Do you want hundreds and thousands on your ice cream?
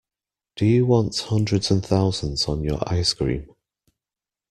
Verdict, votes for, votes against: accepted, 2, 0